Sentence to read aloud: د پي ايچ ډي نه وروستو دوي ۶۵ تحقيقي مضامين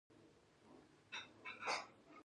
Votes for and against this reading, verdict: 0, 2, rejected